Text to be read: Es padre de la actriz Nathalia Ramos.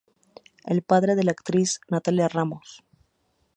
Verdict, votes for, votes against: rejected, 0, 2